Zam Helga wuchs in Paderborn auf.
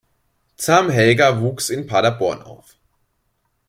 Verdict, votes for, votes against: accepted, 2, 0